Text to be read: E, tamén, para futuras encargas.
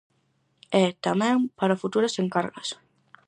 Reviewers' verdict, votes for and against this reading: accepted, 4, 0